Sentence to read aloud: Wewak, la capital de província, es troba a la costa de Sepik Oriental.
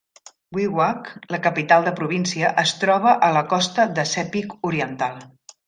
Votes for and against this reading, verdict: 2, 0, accepted